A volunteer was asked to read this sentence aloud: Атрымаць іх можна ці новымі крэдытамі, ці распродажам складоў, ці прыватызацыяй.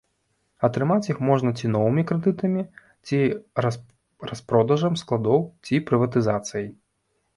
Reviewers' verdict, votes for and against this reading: rejected, 1, 2